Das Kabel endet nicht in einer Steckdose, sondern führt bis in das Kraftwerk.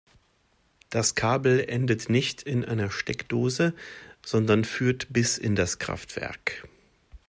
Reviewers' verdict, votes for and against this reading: accepted, 2, 0